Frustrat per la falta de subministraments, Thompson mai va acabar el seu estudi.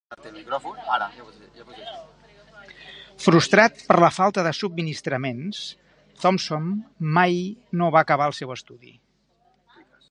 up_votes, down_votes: 1, 3